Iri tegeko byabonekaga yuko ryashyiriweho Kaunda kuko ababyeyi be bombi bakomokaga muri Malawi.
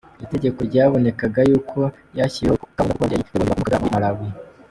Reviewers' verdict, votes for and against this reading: rejected, 0, 2